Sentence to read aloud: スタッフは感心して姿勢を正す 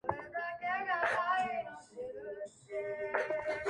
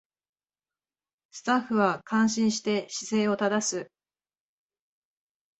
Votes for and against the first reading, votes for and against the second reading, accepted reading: 1, 2, 2, 0, second